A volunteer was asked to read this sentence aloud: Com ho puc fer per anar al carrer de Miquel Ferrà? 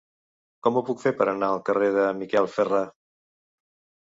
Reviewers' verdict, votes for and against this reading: accepted, 2, 0